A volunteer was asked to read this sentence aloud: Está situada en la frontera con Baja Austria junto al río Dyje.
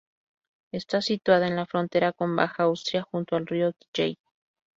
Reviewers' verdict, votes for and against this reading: accepted, 2, 0